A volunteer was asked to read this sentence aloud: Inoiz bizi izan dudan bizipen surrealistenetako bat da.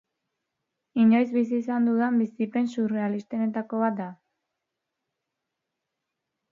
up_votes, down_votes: 3, 0